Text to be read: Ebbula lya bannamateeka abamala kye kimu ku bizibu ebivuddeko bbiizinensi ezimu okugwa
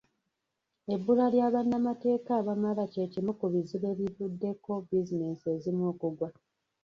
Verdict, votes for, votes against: rejected, 0, 2